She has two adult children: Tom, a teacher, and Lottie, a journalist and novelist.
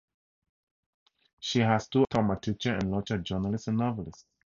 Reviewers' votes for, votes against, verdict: 0, 2, rejected